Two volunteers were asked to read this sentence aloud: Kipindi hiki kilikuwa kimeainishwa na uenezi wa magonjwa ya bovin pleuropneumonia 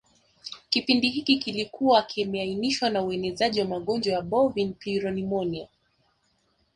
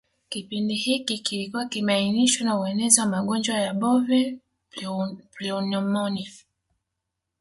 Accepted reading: first